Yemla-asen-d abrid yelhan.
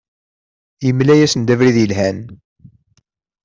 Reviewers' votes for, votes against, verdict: 2, 0, accepted